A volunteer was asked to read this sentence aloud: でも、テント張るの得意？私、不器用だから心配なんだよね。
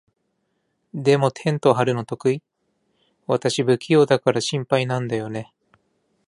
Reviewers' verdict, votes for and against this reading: accepted, 2, 0